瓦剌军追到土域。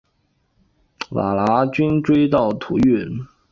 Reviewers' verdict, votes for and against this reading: accepted, 2, 1